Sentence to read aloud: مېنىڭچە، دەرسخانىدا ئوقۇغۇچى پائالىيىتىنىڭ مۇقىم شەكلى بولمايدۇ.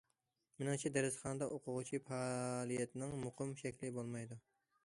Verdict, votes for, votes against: rejected, 1, 2